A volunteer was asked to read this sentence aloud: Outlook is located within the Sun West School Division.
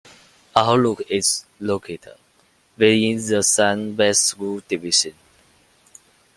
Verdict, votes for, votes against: rejected, 0, 2